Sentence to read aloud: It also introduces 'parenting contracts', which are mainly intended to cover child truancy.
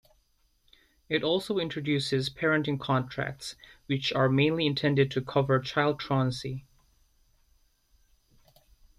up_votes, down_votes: 2, 0